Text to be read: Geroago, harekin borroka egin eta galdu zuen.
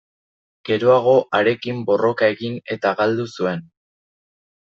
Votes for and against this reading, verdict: 2, 0, accepted